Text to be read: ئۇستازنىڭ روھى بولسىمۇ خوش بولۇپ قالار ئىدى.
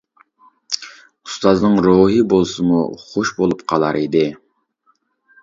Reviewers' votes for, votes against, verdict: 2, 0, accepted